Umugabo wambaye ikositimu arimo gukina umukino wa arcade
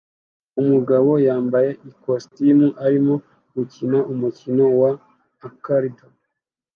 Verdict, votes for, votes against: accepted, 2, 1